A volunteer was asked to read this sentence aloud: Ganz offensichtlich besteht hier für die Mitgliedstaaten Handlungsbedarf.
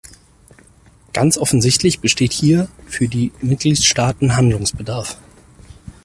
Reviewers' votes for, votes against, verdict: 4, 0, accepted